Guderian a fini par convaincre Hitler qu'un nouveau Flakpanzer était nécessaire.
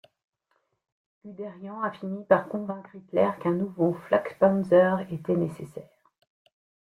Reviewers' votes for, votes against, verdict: 2, 0, accepted